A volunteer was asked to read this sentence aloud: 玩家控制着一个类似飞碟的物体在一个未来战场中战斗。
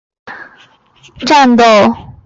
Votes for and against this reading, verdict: 0, 3, rejected